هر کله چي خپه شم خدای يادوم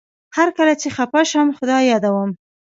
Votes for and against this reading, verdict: 1, 2, rejected